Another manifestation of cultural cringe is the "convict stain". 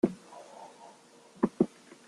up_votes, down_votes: 0, 2